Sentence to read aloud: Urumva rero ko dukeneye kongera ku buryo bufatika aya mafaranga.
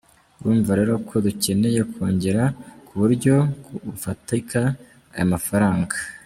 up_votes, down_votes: 3, 0